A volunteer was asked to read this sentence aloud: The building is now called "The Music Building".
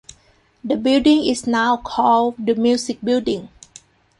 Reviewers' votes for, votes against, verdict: 2, 0, accepted